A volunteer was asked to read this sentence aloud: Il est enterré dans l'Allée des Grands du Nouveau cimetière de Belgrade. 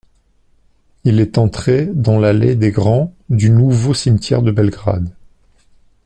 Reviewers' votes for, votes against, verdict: 0, 2, rejected